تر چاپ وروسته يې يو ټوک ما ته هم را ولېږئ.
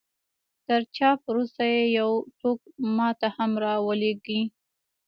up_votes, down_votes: 2, 0